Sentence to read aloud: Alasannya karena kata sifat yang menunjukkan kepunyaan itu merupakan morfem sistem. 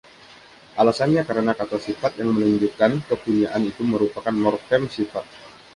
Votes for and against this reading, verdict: 1, 2, rejected